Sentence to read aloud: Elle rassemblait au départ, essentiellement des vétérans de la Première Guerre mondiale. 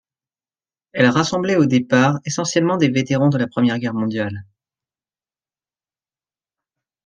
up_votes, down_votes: 2, 0